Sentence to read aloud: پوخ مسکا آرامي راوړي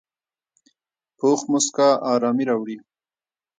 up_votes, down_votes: 0, 2